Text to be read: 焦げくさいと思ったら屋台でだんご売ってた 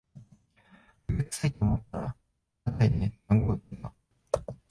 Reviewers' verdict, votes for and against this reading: rejected, 0, 2